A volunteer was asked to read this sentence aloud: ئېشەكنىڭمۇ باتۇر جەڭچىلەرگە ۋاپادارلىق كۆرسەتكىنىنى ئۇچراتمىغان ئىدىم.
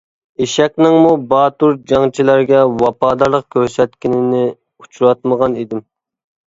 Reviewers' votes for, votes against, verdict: 2, 0, accepted